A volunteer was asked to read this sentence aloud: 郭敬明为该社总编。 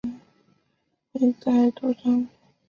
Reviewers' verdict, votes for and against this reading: rejected, 0, 3